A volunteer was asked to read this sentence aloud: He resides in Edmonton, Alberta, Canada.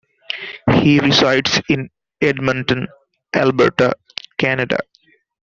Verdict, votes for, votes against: accepted, 2, 0